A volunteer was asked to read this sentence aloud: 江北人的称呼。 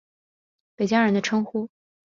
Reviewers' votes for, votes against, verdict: 0, 2, rejected